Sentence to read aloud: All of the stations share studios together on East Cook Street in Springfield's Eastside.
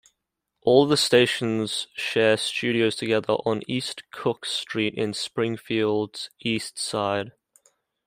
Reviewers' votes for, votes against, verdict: 0, 2, rejected